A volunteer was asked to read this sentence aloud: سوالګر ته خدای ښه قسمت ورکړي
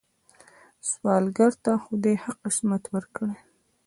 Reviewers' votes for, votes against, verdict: 1, 2, rejected